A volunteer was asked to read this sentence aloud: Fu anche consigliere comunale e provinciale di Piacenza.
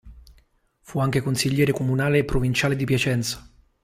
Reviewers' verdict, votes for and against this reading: accepted, 3, 0